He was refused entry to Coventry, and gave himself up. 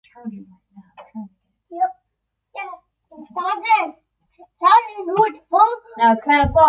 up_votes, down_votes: 0, 2